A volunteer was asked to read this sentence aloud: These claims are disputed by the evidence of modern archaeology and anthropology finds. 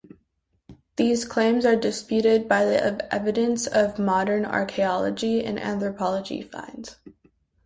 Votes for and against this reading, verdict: 0, 2, rejected